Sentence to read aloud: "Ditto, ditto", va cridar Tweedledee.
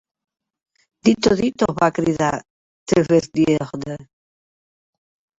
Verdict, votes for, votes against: rejected, 1, 3